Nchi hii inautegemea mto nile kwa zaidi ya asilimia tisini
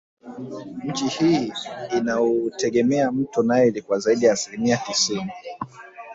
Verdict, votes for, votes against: rejected, 0, 2